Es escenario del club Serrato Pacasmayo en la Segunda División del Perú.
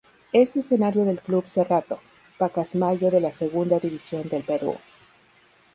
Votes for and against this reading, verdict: 0, 2, rejected